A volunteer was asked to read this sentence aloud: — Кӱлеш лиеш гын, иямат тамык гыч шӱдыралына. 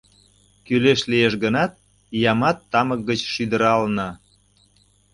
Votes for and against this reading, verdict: 0, 2, rejected